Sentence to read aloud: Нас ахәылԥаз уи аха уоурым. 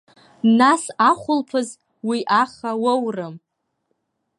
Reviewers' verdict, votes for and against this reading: accepted, 2, 0